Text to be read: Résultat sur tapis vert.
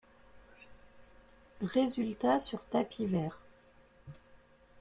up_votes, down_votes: 0, 2